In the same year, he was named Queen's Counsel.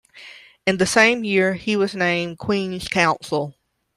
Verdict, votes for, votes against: accepted, 2, 0